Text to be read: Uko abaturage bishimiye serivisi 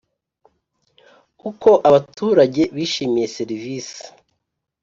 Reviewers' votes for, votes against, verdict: 2, 0, accepted